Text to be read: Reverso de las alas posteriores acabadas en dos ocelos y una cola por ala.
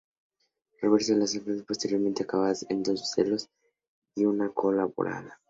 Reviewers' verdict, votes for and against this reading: rejected, 0, 2